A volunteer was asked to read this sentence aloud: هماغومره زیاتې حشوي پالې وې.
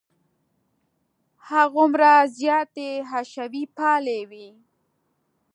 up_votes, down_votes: 2, 0